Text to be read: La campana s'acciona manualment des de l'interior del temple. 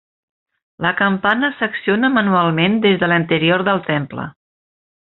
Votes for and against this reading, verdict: 1, 2, rejected